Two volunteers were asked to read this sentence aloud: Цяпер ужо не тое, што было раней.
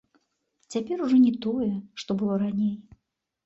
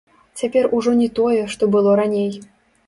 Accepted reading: first